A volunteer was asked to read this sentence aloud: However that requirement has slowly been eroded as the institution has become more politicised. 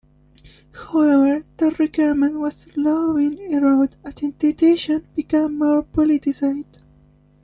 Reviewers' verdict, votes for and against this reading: accepted, 2, 0